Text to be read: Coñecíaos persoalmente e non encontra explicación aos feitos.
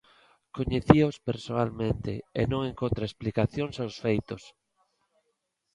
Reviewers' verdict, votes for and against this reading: rejected, 0, 3